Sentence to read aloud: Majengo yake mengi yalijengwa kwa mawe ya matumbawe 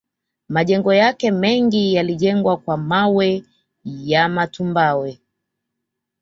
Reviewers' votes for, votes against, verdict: 2, 0, accepted